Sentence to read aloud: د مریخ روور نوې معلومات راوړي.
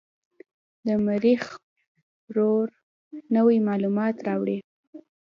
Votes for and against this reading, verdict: 2, 0, accepted